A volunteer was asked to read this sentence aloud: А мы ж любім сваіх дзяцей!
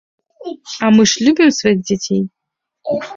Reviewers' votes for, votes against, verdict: 2, 1, accepted